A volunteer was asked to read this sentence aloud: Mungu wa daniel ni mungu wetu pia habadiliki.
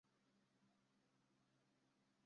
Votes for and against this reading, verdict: 0, 2, rejected